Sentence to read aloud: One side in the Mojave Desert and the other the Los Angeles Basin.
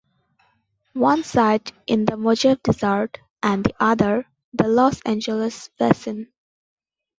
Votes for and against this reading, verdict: 1, 2, rejected